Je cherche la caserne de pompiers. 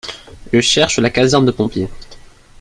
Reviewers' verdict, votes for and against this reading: accepted, 2, 0